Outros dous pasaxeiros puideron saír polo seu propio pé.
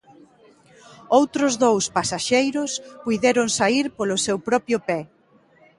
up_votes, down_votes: 2, 0